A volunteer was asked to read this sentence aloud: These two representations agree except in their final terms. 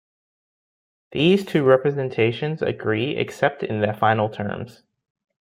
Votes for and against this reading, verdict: 2, 0, accepted